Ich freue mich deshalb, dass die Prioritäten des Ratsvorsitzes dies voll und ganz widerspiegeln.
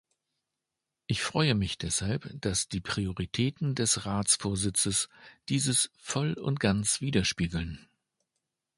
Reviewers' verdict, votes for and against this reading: rejected, 0, 2